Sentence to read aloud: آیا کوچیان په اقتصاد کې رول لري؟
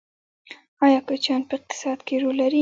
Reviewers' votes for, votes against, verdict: 2, 1, accepted